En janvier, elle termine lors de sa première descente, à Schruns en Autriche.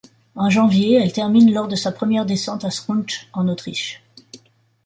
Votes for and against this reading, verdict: 1, 2, rejected